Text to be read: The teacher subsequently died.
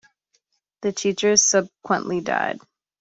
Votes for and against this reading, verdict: 0, 2, rejected